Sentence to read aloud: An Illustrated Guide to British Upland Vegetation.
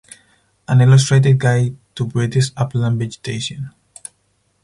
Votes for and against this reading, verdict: 4, 0, accepted